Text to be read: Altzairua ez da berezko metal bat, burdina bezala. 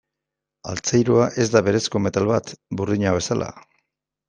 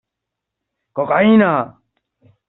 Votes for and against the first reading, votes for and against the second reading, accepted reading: 2, 0, 0, 2, first